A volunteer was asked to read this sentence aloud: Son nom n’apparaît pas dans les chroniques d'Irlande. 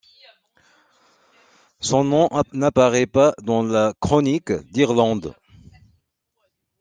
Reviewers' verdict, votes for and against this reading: rejected, 1, 2